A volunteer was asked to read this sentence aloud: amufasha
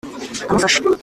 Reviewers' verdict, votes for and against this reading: rejected, 0, 2